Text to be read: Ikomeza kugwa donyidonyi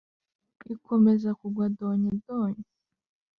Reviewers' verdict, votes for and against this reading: accepted, 2, 0